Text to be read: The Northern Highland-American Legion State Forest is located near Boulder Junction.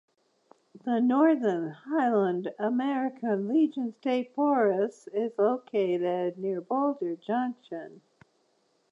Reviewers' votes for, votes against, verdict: 2, 0, accepted